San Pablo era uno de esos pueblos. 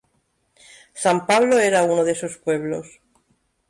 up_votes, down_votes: 2, 0